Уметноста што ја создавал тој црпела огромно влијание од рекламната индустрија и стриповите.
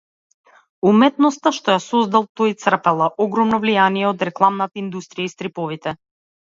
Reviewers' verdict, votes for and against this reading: rejected, 1, 2